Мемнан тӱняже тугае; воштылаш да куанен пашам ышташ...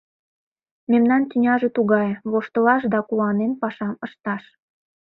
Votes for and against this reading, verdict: 2, 0, accepted